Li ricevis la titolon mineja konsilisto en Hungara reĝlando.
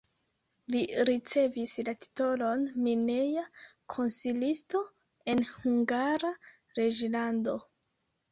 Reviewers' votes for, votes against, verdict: 1, 2, rejected